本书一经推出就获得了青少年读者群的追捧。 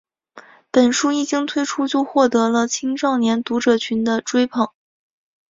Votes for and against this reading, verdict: 2, 1, accepted